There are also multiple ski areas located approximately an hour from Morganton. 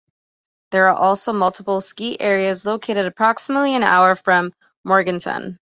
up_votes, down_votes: 2, 0